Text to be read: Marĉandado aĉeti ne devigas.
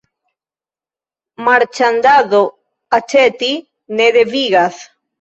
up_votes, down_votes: 2, 0